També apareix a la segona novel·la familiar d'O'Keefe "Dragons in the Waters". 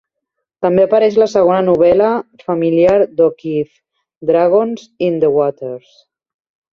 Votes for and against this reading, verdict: 0, 2, rejected